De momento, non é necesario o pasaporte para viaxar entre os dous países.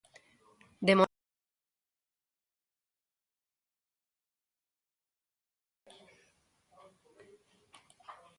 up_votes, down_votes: 0, 2